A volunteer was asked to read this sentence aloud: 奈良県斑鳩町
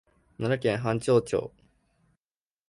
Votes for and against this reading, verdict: 0, 2, rejected